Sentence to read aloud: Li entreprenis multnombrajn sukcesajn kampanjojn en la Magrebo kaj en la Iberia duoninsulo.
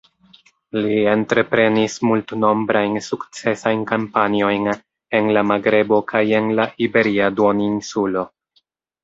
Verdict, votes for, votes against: accepted, 2, 1